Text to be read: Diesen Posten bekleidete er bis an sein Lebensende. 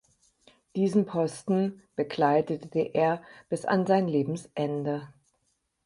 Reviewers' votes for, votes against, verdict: 2, 6, rejected